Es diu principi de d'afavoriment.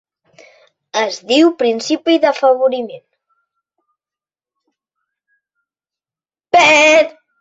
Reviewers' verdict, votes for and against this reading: rejected, 1, 3